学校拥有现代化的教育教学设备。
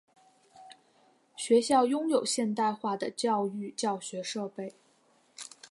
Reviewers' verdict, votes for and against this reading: accepted, 3, 0